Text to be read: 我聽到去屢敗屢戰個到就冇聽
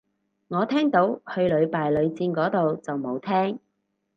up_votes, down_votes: 2, 0